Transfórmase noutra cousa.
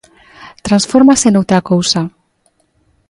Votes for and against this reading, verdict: 2, 0, accepted